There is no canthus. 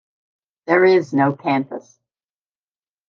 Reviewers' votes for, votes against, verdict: 2, 0, accepted